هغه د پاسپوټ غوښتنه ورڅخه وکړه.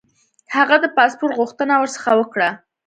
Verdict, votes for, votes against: accepted, 2, 0